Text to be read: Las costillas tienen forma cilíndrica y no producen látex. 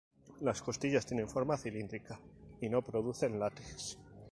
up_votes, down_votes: 2, 0